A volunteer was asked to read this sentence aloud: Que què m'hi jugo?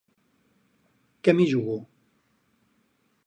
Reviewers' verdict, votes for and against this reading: rejected, 2, 2